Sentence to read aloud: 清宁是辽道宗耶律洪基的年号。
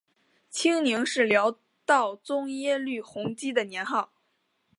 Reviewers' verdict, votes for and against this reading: accepted, 2, 0